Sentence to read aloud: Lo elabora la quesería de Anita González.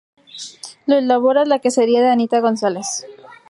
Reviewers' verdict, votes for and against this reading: rejected, 2, 2